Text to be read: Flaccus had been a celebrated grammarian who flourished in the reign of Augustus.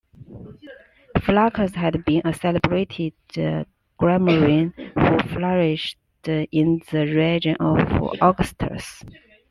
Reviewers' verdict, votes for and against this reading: rejected, 0, 2